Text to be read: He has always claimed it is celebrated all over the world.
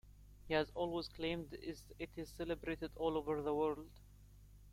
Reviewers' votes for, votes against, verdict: 1, 2, rejected